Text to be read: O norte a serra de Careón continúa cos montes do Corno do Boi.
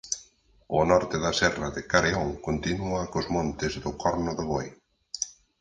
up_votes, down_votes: 2, 4